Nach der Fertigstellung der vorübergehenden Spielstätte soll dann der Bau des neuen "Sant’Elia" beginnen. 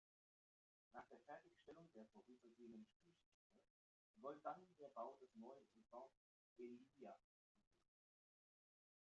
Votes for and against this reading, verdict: 0, 2, rejected